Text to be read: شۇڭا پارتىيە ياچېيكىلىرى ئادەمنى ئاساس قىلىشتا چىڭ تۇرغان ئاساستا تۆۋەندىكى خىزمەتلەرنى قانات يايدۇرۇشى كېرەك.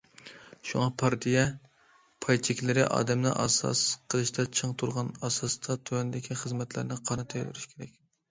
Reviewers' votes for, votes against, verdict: 0, 2, rejected